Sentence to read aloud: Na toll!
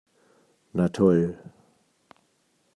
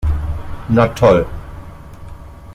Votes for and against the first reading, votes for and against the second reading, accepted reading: 2, 0, 1, 2, first